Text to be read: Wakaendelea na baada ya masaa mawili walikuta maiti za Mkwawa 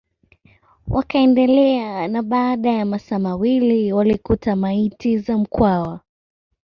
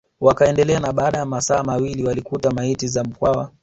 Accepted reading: first